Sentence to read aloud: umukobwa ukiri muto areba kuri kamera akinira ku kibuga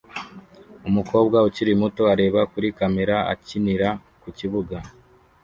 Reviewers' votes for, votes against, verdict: 2, 0, accepted